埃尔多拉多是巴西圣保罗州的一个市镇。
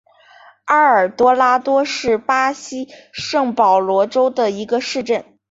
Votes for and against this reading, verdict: 2, 0, accepted